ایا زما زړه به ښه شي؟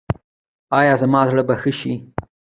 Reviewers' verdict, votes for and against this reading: rejected, 1, 2